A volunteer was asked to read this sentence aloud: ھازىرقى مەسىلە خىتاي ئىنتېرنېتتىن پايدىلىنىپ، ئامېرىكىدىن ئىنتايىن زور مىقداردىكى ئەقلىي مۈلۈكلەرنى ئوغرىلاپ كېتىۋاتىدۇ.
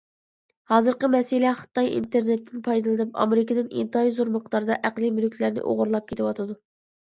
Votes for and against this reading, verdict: 0, 2, rejected